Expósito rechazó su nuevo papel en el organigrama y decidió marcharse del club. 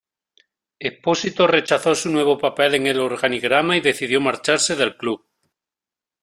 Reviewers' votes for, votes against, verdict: 2, 0, accepted